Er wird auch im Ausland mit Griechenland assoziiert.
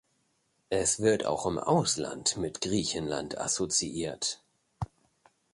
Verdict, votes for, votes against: rejected, 0, 2